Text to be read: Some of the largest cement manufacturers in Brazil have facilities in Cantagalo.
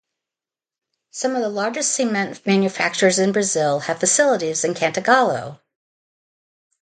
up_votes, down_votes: 2, 0